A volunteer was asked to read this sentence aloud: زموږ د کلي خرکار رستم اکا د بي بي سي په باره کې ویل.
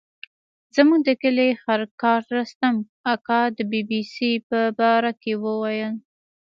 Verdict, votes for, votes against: accepted, 2, 1